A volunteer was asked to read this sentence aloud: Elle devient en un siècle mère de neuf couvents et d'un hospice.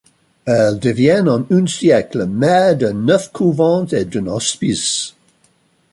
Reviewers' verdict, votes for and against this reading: rejected, 0, 2